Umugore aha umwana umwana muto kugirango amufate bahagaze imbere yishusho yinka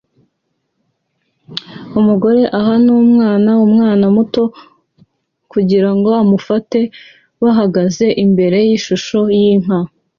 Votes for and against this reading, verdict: 2, 0, accepted